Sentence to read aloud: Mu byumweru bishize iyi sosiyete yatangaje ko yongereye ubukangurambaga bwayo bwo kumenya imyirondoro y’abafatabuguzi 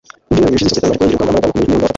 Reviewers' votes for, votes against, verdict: 1, 2, rejected